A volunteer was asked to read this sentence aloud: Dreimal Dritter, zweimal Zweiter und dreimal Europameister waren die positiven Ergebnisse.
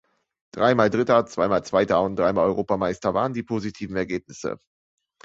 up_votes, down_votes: 2, 0